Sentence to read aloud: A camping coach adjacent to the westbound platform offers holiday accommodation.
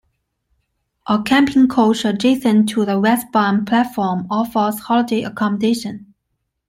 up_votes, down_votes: 2, 1